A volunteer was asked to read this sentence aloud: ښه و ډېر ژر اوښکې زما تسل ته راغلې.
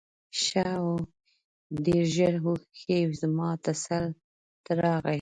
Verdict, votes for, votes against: accepted, 2, 1